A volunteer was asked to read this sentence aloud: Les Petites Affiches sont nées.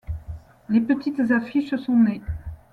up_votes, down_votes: 2, 0